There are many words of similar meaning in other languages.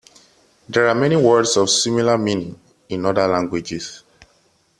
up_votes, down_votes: 2, 0